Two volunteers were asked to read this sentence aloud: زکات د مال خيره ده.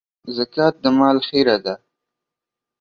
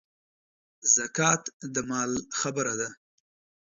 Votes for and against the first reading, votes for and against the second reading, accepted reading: 2, 0, 3, 4, first